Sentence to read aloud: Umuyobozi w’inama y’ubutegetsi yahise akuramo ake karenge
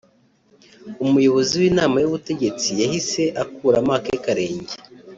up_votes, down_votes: 3, 0